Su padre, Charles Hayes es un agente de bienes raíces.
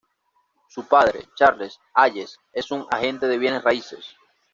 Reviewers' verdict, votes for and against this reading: accepted, 2, 0